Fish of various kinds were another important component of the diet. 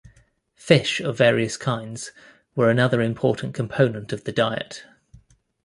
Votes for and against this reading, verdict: 2, 0, accepted